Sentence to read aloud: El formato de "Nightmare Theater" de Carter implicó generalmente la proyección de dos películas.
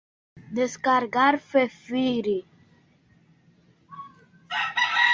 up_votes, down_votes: 0, 2